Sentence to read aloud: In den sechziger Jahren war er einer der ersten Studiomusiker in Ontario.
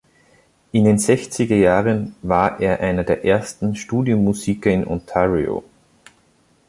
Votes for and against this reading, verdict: 2, 0, accepted